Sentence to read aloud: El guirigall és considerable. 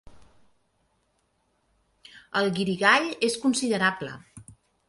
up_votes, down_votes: 2, 0